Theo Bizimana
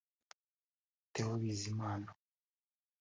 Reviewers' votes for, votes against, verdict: 2, 1, accepted